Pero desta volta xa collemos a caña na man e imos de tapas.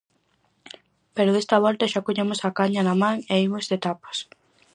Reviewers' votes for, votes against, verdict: 4, 0, accepted